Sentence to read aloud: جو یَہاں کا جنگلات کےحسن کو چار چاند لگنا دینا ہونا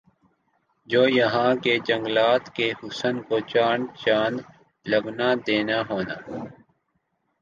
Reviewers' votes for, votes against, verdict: 2, 1, accepted